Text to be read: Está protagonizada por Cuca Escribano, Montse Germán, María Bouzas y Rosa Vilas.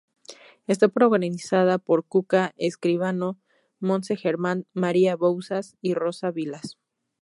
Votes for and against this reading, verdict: 0, 2, rejected